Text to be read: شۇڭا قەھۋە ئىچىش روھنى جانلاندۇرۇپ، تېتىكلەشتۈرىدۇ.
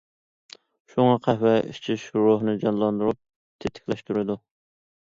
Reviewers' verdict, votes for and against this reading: accepted, 2, 0